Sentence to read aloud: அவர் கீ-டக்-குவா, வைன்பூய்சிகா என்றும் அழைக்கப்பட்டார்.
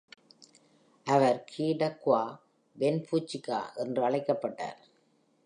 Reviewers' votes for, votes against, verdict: 0, 2, rejected